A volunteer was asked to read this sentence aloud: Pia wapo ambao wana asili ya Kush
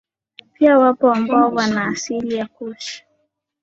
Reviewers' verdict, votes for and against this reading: accepted, 2, 0